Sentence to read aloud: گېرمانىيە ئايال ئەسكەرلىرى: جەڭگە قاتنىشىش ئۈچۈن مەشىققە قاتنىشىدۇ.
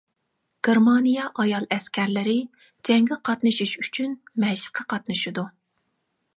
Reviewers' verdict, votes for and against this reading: accepted, 2, 0